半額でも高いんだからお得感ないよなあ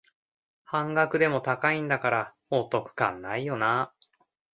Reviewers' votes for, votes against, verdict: 2, 0, accepted